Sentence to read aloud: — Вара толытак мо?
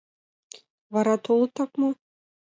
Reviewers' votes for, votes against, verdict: 2, 0, accepted